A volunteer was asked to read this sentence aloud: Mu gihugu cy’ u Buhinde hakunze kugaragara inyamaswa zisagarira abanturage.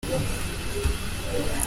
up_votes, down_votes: 0, 2